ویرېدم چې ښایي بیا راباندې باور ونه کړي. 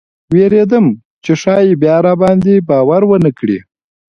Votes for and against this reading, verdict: 2, 1, accepted